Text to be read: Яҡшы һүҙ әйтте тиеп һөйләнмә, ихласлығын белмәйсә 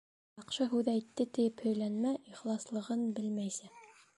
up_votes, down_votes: 1, 2